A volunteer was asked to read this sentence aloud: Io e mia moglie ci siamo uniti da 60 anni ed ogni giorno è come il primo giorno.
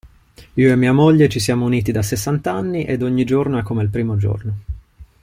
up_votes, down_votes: 0, 2